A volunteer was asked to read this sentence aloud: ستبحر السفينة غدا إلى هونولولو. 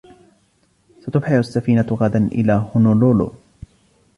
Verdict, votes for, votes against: accepted, 2, 0